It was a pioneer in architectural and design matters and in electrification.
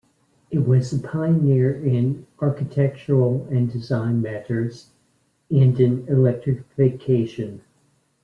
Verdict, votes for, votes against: accepted, 2, 0